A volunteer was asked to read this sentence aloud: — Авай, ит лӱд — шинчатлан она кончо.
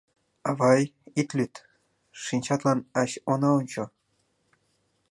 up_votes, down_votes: 0, 2